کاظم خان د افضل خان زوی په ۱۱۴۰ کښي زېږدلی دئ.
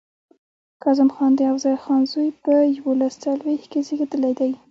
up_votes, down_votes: 0, 2